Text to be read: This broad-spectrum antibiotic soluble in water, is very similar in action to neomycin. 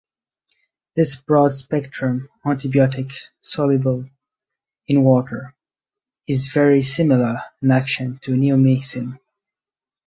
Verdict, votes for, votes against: accepted, 2, 0